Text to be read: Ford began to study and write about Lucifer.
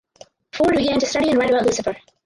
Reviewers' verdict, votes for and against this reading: rejected, 0, 4